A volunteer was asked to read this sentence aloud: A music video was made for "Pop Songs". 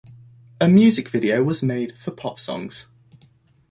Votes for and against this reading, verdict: 2, 0, accepted